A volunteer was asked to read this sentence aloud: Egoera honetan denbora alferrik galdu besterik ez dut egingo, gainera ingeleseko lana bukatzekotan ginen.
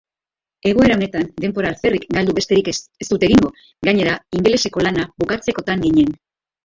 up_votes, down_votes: 3, 1